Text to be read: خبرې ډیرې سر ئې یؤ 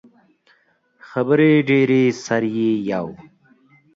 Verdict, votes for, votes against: accepted, 2, 0